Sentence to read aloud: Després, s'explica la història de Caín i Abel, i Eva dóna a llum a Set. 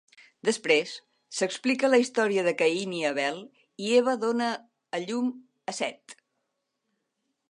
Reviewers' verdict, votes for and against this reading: accepted, 2, 0